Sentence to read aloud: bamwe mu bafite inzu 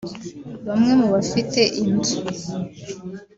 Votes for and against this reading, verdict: 0, 2, rejected